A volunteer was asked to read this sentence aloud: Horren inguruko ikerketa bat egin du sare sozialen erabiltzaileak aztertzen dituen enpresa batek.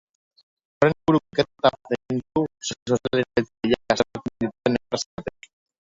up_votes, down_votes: 0, 2